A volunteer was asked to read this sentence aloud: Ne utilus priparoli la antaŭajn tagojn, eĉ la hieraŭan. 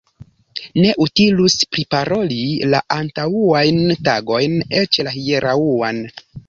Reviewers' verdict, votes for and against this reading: rejected, 1, 2